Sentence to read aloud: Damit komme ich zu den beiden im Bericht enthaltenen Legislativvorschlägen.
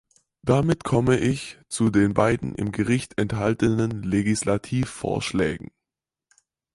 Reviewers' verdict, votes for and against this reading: rejected, 0, 4